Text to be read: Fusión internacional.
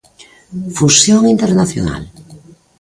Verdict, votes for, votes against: accepted, 2, 0